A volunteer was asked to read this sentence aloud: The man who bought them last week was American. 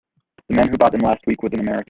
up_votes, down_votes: 0, 2